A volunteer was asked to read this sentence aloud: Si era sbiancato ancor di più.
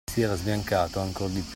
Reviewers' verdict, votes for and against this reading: accepted, 2, 0